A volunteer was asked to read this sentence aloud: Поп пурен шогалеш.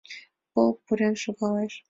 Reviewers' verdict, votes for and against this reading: rejected, 1, 2